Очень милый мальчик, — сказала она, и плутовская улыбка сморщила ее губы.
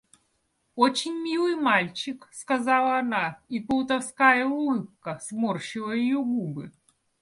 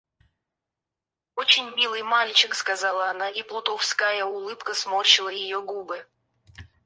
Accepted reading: first